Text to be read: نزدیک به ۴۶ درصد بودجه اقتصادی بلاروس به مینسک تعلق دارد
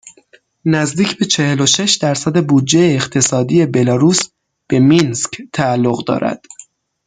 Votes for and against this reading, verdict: 0, 2, rejected